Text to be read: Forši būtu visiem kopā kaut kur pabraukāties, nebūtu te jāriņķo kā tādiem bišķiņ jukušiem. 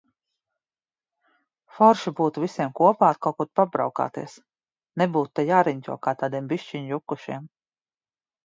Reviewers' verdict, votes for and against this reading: accepted, 2, 0